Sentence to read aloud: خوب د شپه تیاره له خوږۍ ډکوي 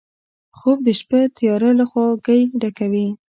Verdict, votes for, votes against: rejected, 1, 2